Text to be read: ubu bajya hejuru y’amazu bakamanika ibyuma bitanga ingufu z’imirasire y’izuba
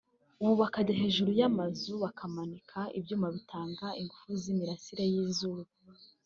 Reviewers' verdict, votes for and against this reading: rejected, 1, 2